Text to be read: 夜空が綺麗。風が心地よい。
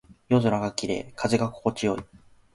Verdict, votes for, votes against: accepted, 2, 0